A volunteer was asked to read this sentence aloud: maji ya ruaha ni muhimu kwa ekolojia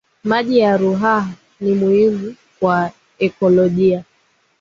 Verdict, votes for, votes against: rejected, 0, 2